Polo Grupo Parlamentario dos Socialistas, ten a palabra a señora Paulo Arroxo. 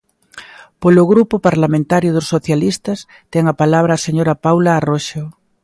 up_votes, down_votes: 0, 2